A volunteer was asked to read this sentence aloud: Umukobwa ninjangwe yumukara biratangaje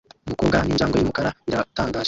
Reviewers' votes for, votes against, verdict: 2, 0, accepted